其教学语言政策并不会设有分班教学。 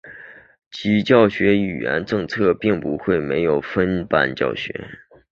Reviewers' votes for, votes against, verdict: 2, 0, accepted